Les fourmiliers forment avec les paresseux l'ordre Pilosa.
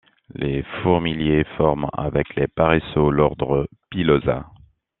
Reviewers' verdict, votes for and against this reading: rejected, 1, 2